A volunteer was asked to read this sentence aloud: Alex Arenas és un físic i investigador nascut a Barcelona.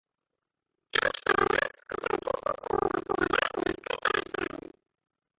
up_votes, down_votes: 1, 2